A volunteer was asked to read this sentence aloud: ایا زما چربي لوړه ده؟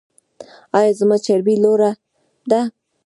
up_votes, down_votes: 0, 2